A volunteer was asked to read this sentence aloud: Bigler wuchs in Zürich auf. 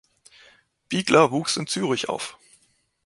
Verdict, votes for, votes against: accepted, 2, 0